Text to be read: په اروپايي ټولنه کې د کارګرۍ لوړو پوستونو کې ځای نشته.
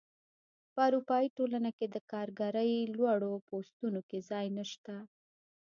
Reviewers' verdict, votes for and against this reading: accepted, 2, 0